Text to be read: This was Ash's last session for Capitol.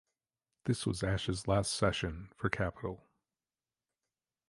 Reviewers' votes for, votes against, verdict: 2, 0, accepted